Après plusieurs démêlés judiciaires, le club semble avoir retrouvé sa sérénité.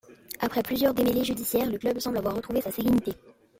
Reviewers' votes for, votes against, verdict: 2, 0, accepted